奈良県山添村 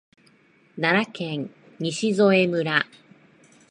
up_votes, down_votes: 1, 2